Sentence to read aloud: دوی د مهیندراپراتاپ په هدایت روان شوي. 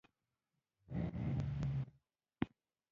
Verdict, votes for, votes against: rejected, 0, 2